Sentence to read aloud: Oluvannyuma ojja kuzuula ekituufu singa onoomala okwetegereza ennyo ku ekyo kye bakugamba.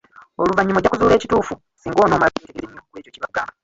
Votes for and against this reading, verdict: 1, 2, rejected